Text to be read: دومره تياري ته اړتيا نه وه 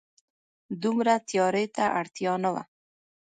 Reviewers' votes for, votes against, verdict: 2, 0, accepted